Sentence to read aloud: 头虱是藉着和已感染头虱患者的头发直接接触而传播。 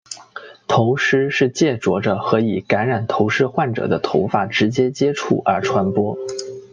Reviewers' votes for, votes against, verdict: 2, 0, accepted